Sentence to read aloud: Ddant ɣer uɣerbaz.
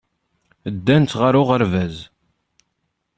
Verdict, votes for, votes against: accepted, 2, 0